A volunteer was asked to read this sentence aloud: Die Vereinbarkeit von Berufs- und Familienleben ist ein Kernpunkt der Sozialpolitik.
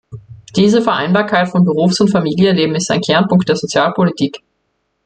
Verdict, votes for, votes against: rejected, 0, 2